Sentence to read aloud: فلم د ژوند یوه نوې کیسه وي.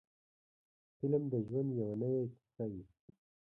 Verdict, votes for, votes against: accepted, 2, 1